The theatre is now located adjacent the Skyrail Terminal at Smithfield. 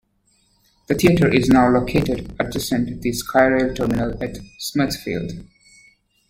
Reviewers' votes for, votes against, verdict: 1, 2, rejected